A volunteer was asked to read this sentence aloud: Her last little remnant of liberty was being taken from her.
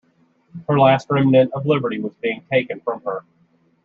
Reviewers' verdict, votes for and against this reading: rejected, 1, 2